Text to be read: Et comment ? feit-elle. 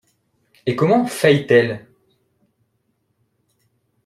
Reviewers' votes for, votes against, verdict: 2, 0, accepted